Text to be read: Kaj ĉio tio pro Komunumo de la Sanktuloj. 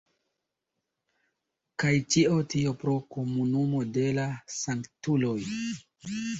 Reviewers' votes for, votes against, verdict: 2, 1, accepted